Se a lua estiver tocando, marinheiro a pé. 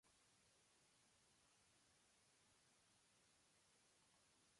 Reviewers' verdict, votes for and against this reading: rejected, 0, 2